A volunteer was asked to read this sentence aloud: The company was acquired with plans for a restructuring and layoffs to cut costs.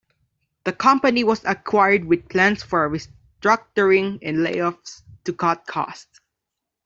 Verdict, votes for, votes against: rejected, 1, 2